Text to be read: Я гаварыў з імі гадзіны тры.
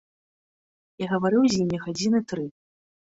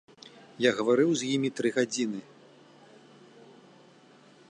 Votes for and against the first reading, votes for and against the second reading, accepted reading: 3, 0, 0, 2, first